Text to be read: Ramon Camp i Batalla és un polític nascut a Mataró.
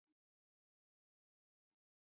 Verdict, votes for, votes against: rejected, 0, 2